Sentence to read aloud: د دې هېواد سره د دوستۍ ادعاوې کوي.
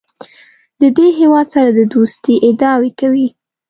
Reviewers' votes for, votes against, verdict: 2, 0, accepted